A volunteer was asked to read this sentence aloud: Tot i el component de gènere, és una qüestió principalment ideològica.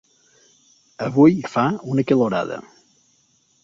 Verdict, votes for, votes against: rejected, 1, 2